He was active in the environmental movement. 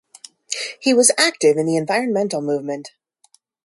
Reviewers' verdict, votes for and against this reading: accepted, 2, 0